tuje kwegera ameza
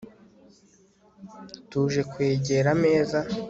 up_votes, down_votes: 2, 0